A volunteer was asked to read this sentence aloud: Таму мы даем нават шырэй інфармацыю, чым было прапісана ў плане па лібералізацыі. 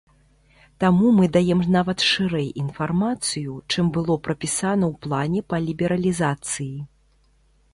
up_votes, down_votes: 2, 0